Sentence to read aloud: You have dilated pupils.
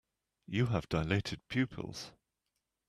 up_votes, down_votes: 3, 0